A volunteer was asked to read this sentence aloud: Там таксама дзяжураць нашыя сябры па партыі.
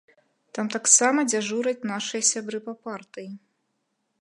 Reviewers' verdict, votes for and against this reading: accepted, 2, 0